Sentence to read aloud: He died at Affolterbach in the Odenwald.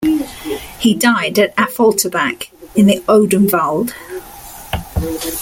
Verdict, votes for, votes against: accepted, 2, 0